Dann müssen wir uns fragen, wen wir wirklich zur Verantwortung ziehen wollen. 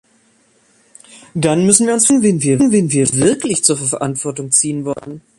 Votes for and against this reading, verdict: 0, 2, rejected